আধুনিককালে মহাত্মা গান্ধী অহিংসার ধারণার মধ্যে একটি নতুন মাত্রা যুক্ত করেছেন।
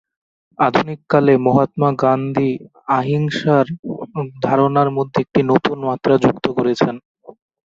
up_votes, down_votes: 0, 6